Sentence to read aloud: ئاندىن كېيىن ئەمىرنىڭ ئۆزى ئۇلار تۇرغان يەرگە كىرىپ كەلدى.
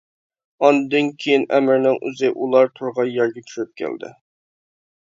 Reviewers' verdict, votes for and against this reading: rejected, 1, 2